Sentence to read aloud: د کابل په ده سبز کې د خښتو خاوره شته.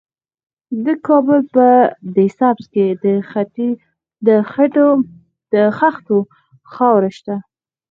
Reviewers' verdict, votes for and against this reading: rejected, 2, 4